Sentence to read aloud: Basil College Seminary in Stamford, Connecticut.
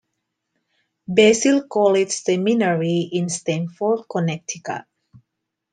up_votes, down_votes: 2, 1